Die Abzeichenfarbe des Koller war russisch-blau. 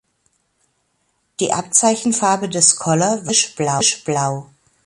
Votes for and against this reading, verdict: 0, 2, rejected